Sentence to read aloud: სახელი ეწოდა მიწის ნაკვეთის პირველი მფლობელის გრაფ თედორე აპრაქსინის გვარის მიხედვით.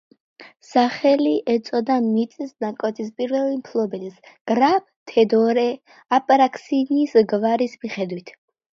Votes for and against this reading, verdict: 0, 2, rejected